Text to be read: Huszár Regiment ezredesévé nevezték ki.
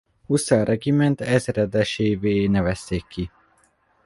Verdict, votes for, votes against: rejected, 0, 2